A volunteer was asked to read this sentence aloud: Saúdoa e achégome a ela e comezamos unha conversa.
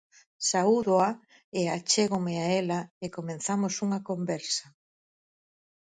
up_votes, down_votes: 0, 4